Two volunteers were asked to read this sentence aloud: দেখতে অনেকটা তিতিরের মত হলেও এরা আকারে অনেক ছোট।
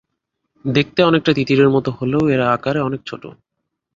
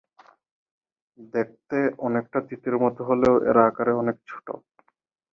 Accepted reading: first